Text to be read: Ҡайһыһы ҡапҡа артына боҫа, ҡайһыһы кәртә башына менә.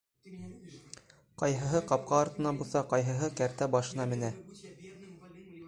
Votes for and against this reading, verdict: 0, 2, rejected